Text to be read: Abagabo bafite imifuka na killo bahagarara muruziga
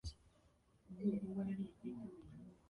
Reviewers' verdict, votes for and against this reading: rejected, 0, 2